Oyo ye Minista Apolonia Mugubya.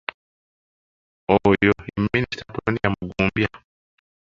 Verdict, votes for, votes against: rejected, 1, 2